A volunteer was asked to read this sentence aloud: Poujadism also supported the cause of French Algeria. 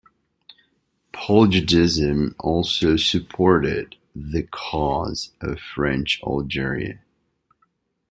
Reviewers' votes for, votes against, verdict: 2, 0, accepted